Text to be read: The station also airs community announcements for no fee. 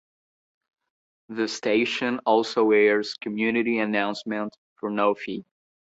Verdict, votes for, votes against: accepted, 2, 0